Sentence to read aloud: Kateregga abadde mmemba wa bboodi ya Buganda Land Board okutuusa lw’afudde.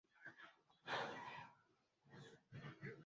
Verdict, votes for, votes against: rejected, 0, 2